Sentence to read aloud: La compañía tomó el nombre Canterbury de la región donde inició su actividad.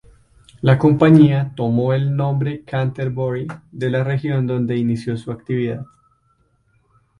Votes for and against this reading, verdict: 8, 0, accepted